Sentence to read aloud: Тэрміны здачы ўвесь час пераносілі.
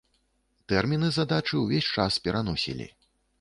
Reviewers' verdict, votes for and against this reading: rejected, 1, 2